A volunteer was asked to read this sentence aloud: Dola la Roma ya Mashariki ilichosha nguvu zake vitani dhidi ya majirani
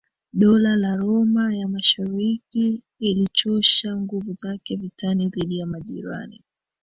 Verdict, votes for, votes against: rejected, 1, 2